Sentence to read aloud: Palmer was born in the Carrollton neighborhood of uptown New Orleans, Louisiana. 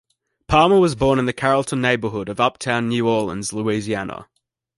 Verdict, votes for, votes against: accepted, 2, 0